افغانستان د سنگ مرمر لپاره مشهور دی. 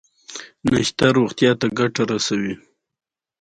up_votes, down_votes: 2, 0